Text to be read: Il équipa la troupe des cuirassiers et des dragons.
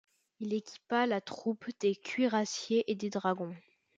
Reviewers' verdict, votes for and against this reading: accepted, 2, 0